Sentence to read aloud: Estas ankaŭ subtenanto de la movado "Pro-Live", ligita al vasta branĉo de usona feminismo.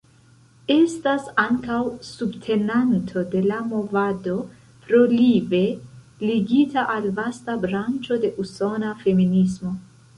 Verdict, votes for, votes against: rejected, 1, 2